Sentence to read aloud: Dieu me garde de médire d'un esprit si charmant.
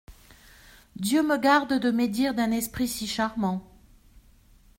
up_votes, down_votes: 2, 0